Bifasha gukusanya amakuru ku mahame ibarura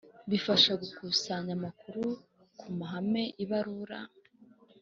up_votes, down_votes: 2, 0